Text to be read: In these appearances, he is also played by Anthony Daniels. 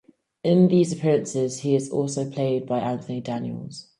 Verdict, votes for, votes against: accepted, 4, 0